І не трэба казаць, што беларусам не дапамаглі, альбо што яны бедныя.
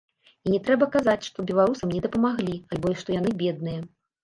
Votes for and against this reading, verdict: 2, 0, accepted